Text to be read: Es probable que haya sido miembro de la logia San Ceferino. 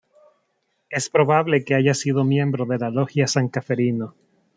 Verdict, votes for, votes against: rejected, 1, 2